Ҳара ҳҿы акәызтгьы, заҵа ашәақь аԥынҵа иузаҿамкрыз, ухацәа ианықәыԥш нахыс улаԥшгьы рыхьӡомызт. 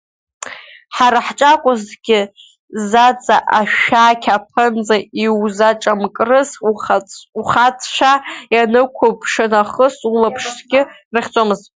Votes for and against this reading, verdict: 1, 2, rejected